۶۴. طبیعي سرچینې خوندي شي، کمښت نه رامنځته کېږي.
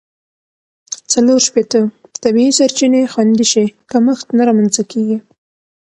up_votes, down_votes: 0, 2